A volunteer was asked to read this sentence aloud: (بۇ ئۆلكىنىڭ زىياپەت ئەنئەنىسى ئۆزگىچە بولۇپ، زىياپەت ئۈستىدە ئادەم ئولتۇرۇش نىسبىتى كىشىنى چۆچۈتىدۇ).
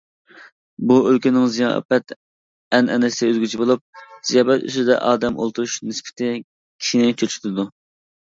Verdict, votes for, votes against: accepted, 2, 1